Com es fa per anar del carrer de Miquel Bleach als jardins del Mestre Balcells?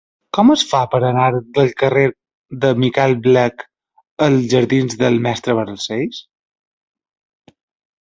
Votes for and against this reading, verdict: 1, 2, rejected